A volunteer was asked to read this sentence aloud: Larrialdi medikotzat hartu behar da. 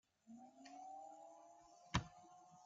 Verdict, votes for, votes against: rejected, 0, 2